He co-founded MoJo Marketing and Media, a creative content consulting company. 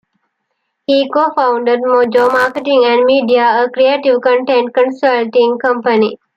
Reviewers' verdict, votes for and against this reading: accepted, 2, 0